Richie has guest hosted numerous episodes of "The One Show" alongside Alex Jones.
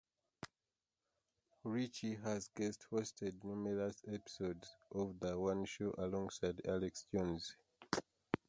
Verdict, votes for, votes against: accepted, 2, 0